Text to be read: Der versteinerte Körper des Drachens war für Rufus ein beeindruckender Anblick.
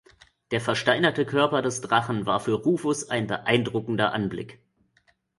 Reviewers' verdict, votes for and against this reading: rejected, 0, 2